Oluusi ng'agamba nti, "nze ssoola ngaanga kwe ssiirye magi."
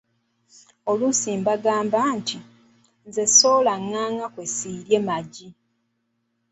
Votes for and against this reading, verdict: 2, 0, accepted